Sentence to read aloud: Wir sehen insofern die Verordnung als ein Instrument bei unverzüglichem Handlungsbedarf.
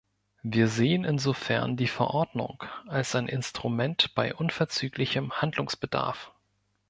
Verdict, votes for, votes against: accepted, 2, 0